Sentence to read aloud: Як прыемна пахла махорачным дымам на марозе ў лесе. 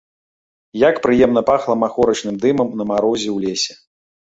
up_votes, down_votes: 2, 1